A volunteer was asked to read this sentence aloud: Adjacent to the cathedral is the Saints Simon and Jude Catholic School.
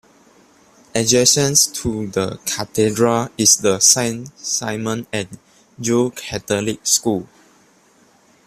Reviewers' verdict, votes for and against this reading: rejected, 0, 2